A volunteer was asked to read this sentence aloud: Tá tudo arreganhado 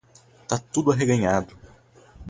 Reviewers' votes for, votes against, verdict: 2, 2, rejected